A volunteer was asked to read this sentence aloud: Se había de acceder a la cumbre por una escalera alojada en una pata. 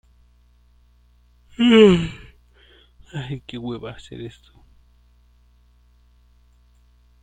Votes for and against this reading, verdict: 0, 2, rejected